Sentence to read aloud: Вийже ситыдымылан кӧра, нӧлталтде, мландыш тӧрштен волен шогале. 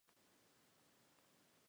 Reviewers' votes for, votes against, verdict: 1, 2, rejected